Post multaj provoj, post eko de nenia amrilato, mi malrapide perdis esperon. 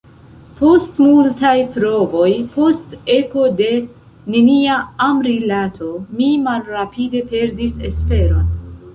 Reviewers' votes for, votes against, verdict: 1, 2, rejected